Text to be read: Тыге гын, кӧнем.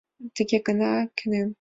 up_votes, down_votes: 0, 2